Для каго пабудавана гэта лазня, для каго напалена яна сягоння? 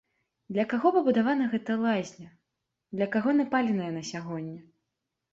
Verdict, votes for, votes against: rejected, 0, 2